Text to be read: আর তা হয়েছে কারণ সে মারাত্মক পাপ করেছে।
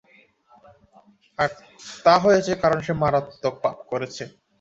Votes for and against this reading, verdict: 1, 2, rejected